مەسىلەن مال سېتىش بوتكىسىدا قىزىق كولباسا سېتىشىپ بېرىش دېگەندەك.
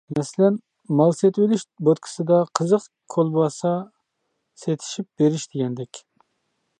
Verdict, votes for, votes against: rejected, 0, 2